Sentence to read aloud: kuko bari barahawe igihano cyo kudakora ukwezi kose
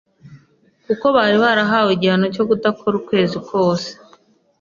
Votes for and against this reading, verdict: 2, 0, accepted